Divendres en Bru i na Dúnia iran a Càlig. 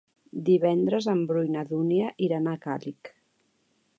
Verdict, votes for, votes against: accepted, 2, 0